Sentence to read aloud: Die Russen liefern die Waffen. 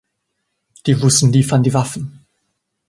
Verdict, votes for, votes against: accepted, 2, 0